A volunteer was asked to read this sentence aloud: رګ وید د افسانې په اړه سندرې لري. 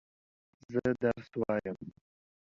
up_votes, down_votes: 0, 2